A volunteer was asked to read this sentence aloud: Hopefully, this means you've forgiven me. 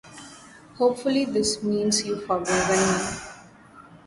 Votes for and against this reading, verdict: 0, 2, rejected